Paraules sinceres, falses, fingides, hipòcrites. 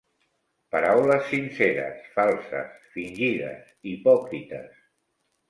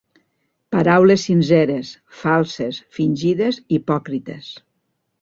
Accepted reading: second